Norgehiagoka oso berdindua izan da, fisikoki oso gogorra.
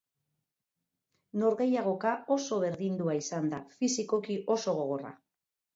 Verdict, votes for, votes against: accepted, 4, 0